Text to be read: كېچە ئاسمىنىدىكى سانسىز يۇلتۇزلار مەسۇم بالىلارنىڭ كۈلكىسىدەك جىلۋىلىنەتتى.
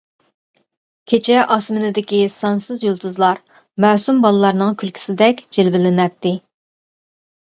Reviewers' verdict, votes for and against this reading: accepted, 2, 0